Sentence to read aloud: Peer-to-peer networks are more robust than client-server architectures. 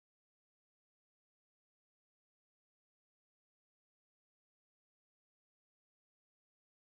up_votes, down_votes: 0, 2